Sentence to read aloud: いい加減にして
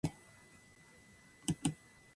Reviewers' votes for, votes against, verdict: 0, 3, rejected